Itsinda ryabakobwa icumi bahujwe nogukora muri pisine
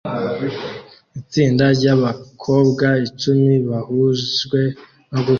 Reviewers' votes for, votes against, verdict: 0, 2, rejected